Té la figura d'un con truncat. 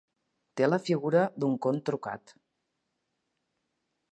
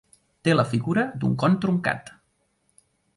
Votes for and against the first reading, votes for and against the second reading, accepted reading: 1, 2, 2, 0, second